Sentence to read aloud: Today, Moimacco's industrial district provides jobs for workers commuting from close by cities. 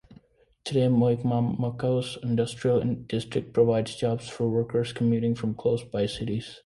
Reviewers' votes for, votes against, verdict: 0, 2, rejected